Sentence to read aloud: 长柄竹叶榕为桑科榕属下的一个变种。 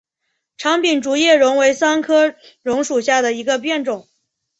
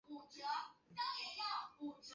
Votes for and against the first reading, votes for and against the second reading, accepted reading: 3, 0, 0, 3, first